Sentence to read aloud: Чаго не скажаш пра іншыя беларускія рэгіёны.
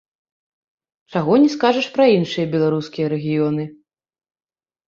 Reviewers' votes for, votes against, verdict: 0, 2, rejected